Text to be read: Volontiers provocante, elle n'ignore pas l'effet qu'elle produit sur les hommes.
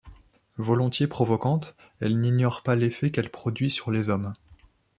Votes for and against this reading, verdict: 2, 0, accepted